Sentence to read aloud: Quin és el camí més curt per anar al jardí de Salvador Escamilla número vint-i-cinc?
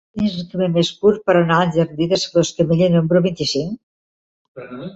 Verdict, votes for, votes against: rejected, 1, 2